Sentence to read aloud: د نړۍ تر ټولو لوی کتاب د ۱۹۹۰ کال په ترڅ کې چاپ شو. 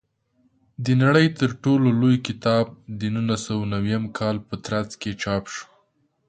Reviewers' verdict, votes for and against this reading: rejected, 0, 2